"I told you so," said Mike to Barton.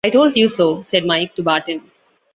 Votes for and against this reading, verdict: 2, 0, accepted